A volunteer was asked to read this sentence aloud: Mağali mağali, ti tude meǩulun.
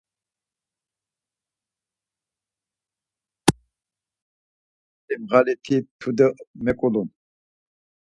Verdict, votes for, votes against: rejected, 0, 4